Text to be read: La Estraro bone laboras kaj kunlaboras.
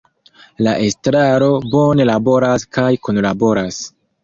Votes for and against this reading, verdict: 2, 0, accepted